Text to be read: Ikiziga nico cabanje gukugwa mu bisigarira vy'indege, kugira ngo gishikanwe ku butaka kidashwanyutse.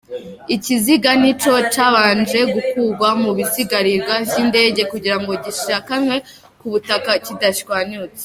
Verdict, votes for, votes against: accepted, 3, 0